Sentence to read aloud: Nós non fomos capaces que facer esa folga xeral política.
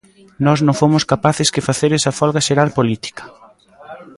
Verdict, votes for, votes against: rejected, 1, 2